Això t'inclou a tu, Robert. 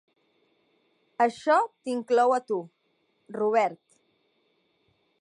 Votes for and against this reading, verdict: 3, 0, accepted